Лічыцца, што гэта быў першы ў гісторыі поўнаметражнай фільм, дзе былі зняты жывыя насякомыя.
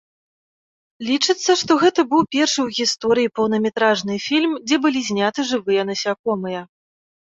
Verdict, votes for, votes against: rejected, 0, 2